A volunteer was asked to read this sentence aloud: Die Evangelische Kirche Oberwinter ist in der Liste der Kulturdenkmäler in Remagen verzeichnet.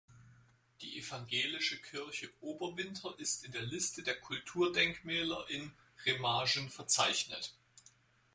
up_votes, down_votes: 0, 4